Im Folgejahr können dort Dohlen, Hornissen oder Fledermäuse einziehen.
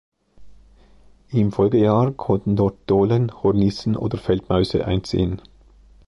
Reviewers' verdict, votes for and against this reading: rejected, 0, 2